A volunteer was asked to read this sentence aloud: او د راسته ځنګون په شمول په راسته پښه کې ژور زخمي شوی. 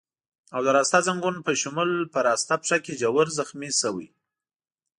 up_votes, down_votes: 2, 0